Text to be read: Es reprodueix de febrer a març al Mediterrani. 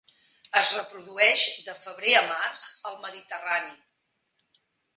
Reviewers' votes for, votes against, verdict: 4, 0, accepted